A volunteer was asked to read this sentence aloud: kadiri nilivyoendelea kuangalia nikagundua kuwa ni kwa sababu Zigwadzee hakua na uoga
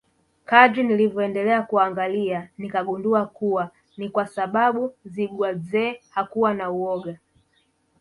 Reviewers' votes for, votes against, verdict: 1, 2, rejected